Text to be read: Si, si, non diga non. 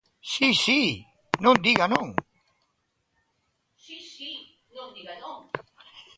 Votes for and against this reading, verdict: 0, 2, rejected